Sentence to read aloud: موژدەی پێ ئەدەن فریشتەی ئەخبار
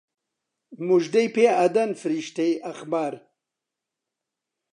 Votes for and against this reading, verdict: 2, 0, accepted